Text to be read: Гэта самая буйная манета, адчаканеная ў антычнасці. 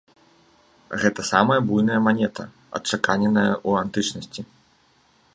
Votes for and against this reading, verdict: 1, 2, rejected